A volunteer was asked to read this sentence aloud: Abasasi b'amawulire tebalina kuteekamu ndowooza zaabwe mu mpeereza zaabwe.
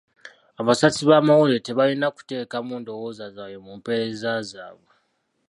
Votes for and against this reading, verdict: 2, 0, accepted